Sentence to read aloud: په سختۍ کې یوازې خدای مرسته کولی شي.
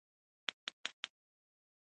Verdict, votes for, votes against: rejected, 1, 2